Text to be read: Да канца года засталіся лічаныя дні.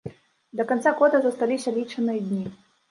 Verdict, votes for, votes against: rejected, 1, 2